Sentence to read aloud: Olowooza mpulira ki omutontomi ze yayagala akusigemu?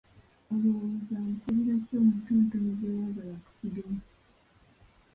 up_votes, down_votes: 0, 3